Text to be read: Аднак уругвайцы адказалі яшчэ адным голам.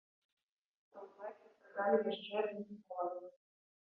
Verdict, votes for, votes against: rejected, 0, 2